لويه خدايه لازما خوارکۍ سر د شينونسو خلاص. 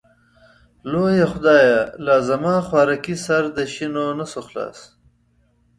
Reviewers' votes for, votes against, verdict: 2, 0, accepted